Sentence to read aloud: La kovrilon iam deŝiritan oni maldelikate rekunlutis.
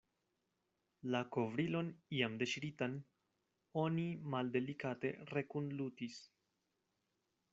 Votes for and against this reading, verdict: 2, 0, accepted